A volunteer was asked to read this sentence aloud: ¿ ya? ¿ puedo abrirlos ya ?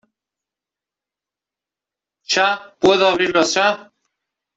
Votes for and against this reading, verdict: 1, 2, rejected